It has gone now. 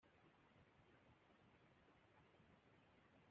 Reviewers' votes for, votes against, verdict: 0, 2, rejected